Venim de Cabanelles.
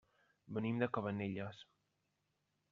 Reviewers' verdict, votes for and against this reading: rejected, 1, 2